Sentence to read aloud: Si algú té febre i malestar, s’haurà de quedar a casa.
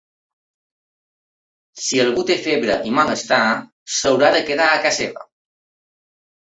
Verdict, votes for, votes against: rejected, 0, 2